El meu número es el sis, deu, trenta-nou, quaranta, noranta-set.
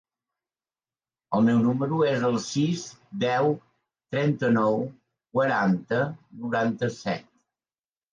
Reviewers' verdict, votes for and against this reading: accepted, 4, 0